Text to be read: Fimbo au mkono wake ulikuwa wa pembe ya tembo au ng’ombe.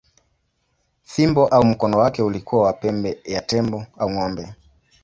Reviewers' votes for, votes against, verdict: 2, 0, accepted